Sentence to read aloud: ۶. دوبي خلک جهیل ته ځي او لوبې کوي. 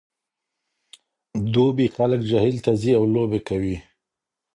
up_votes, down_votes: 0, 2